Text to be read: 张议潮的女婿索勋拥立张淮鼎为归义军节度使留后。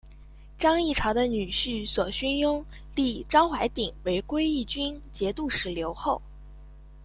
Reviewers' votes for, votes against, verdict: 2, 0, accepted